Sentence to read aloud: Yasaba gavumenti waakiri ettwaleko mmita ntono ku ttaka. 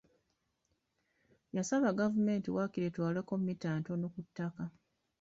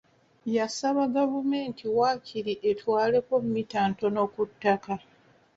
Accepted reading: second